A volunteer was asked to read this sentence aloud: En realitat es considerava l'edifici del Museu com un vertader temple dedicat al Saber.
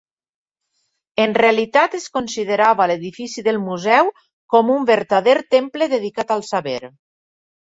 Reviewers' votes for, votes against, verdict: 3, 0, accepted